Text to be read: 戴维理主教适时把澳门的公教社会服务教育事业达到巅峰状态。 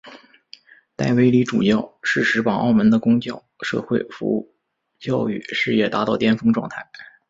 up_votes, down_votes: 2, 0